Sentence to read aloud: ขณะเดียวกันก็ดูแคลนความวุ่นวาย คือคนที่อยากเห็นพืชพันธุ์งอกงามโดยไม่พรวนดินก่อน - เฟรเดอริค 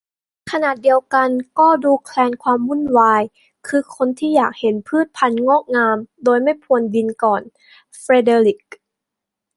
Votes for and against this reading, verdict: 2, 0, accepted